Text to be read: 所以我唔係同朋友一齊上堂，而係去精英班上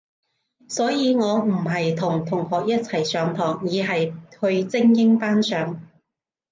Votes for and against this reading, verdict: 1, 2, rejected